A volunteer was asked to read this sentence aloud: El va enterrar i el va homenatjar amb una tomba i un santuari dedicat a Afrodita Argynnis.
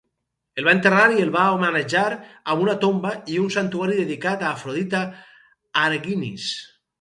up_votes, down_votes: 6, 0